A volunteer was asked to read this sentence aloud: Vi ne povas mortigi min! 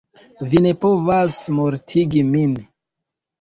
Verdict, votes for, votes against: accepted, 2, 0